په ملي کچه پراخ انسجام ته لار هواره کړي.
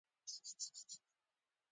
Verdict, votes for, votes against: accepted, 2, 0